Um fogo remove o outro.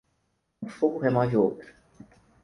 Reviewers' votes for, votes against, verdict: 2, 4, rejected